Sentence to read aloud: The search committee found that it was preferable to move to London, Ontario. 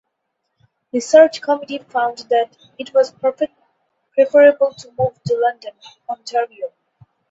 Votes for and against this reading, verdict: 0, 2, rejected